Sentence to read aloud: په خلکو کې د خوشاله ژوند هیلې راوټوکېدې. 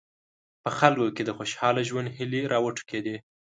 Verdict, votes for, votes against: accepted, 2, 0